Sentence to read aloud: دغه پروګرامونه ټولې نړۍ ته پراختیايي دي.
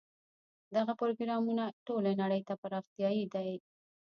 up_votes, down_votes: 0, 2